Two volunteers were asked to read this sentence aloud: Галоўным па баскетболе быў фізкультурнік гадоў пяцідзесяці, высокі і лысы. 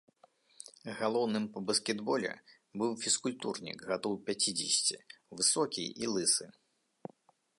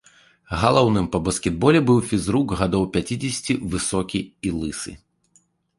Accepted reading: first